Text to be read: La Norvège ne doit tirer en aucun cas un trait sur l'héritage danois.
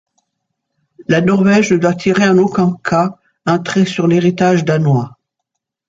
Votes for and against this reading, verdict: 2, 0, accepted